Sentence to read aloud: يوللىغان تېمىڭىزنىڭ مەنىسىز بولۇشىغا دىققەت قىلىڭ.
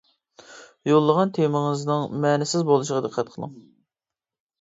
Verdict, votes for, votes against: accepted, 2, 0